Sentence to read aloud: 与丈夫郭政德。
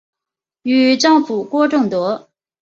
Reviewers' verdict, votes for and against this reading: accepted, 2, 1